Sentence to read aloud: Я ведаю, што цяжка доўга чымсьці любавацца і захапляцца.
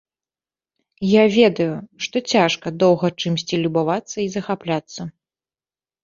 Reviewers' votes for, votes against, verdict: 2, 0, accepted